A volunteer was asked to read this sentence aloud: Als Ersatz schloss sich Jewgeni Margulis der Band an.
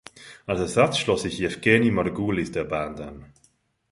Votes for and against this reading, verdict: 0, 2, rejected